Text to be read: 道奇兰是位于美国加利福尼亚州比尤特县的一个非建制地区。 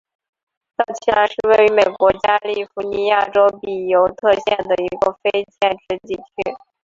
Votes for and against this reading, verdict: 3, 0, accepted